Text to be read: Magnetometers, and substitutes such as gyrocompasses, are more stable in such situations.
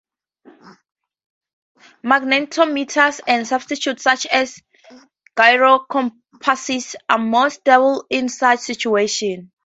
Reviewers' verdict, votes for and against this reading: rejected, 0, 2